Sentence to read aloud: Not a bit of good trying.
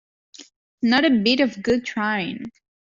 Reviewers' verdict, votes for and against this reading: accepted, 2, 0